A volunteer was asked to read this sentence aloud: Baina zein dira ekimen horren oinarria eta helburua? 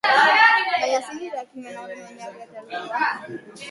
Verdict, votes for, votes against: rejected, 0, 2